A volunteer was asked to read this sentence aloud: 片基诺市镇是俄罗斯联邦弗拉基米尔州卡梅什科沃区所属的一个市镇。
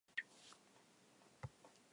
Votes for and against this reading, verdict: 0, 2, rejected